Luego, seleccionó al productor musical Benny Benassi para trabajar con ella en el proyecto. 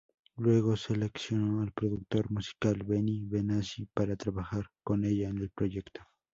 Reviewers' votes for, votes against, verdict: 2, 2, rejected